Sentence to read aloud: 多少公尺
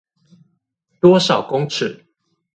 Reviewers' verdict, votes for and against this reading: accepted, 2, 0